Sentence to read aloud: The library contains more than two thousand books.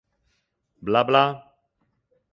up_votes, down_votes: 0, 2